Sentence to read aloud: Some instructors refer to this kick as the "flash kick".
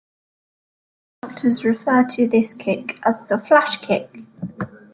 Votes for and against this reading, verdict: 0, 2, rejected